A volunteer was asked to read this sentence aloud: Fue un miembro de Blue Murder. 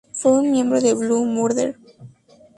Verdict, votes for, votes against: accepted, 2, 0